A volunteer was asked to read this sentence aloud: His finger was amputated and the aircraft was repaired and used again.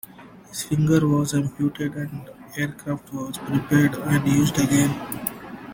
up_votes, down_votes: 0, 2